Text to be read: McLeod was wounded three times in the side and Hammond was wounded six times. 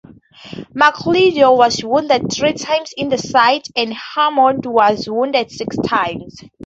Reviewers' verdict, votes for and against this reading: accepted, 2, 0